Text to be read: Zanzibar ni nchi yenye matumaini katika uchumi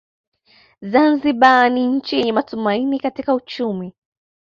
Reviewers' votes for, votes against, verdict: 2, 0, accepted